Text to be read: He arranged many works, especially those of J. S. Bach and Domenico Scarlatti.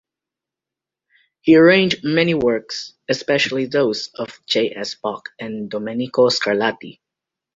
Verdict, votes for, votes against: accepted, 2, 0